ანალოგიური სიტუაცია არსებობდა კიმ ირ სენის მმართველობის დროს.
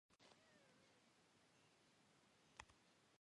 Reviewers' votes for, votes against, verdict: 0, 2, rejected